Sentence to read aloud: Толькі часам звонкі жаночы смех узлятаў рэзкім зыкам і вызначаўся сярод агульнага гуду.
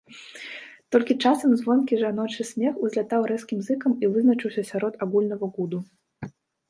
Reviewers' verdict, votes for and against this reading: rejected, 0, 2